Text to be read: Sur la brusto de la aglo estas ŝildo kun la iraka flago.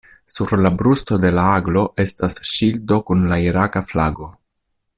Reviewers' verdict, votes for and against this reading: accepted, 2, 0